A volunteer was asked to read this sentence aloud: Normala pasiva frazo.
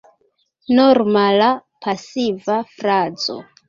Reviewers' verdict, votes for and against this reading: accepted, 2, 0